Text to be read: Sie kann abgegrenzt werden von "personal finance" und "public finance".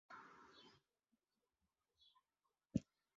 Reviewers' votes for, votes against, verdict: 0, 2, rejected